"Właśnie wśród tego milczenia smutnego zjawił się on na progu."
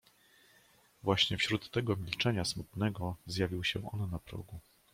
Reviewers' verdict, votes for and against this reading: rejected, 0, 2